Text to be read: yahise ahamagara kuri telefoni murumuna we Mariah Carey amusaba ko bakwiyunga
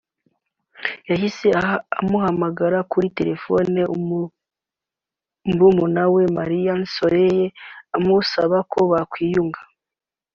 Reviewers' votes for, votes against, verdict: 1, 2, rejected